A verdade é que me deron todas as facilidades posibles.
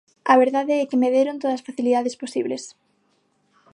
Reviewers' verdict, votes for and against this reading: rejected, 3, 6